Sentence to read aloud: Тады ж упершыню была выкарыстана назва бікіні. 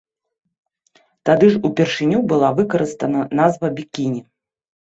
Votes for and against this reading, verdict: 2, 0, accepted